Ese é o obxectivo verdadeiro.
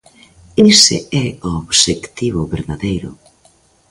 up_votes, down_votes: 2, 0